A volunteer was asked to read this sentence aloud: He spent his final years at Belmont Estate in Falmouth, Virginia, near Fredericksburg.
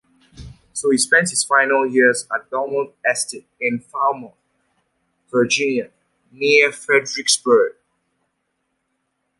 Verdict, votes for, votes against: accepted, 2, 0